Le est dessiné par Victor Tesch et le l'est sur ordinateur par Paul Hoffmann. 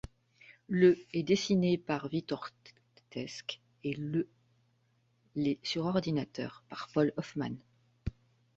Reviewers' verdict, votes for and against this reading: rejected, 1, 2